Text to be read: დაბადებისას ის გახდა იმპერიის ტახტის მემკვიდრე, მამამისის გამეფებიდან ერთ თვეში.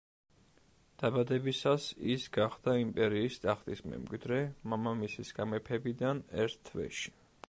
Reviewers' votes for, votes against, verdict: 2, 1, accepted